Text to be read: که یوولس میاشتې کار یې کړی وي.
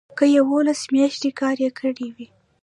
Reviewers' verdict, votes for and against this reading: accepted, 2, 0